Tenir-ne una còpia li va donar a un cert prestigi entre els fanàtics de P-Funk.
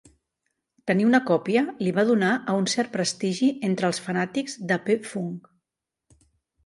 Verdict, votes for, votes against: rejected, 1, 2